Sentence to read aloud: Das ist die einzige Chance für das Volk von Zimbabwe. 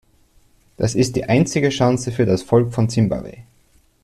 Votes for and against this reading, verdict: 2, 0, accepted